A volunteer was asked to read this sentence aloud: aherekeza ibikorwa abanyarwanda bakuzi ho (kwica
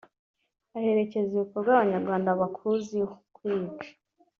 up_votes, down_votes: 1, 2